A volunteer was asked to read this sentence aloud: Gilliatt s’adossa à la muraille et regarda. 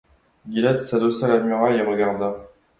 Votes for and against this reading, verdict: 2, 1, accepted